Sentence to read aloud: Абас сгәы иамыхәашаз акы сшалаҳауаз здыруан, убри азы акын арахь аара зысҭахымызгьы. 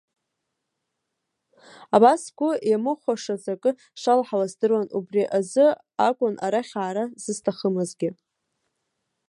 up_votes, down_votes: 1, 2